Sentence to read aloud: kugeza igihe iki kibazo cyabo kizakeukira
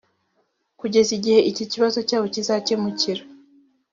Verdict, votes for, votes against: rejected, 1, 2